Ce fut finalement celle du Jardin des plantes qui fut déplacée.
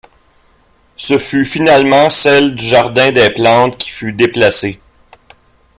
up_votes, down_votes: 1, 2